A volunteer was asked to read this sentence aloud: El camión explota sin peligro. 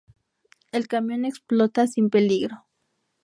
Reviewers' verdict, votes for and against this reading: rejected, 2, 2